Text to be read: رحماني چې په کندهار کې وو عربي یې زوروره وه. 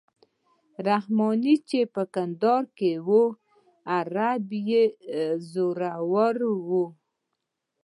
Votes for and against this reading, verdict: 2, 0, accepted